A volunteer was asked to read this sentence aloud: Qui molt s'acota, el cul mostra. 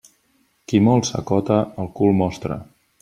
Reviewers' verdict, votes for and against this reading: accepted, 2, 0